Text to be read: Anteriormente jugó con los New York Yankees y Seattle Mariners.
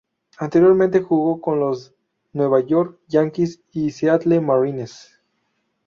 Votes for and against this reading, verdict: 0, 2, rejected